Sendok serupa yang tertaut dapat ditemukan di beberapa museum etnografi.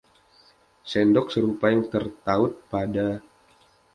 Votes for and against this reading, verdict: 0, 2, rejected